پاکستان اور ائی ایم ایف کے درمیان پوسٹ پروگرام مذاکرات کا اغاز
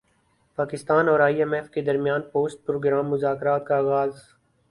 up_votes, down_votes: 6, 0